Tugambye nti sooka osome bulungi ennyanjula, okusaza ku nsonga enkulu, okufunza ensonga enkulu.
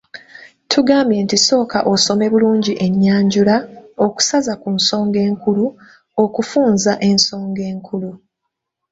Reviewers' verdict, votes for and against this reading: accepted, 2, 0